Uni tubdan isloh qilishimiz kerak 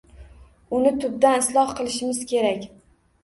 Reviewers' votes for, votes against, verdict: 2, 0, accepted